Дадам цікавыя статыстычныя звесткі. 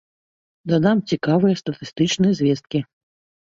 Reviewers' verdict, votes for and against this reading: accepted, 3, 1